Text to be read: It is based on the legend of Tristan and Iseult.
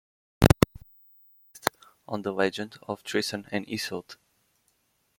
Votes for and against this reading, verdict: 0, 2, rejected